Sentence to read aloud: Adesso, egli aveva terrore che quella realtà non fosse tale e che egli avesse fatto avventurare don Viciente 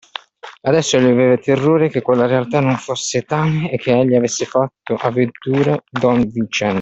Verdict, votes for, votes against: rejected, 0, 2